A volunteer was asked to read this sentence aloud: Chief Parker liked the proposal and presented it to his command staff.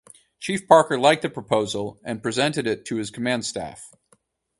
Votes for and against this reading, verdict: 4, 0, accepted